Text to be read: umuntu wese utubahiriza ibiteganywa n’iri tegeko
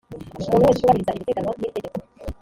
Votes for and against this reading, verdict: 0, 2, rejected